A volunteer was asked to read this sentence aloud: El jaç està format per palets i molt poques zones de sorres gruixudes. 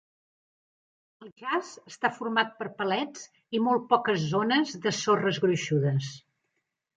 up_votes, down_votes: 2, 1